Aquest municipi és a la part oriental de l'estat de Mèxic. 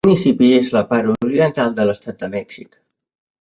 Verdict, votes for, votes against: rejected, 0, 2